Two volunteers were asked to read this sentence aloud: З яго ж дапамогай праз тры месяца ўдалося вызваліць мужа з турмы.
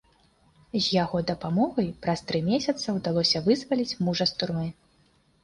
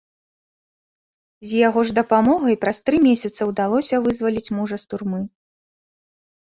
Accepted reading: second